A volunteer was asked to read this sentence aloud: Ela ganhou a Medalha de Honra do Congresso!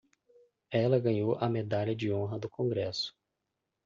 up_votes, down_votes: 2, 0